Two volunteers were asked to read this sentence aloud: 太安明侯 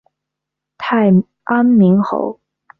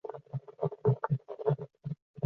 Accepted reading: first